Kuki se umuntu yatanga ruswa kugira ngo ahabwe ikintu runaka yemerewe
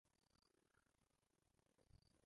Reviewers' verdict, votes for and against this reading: rejected, 0, 2